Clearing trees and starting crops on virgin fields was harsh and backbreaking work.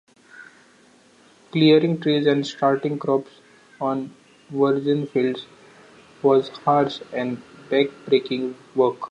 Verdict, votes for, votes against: accepted, 2, 1